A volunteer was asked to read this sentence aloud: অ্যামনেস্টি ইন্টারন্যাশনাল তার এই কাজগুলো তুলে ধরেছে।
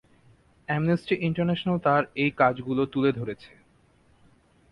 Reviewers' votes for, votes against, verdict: 3, 0, accepted